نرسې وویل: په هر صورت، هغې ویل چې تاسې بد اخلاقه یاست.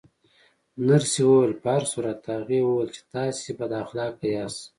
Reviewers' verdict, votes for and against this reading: rejected, 1, 2